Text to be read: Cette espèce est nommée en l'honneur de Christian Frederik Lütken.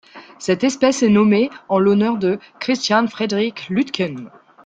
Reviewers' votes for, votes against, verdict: 2, 0, accepted